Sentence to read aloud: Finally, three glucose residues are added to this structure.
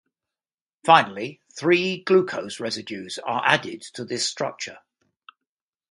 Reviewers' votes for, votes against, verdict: 2, 0, accepted